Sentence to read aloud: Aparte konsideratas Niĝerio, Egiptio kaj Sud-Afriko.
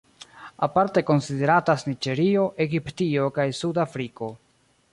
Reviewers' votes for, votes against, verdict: 0, 2, rejected